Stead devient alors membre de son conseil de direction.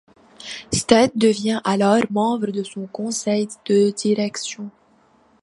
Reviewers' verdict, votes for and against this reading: accepted, 2, 0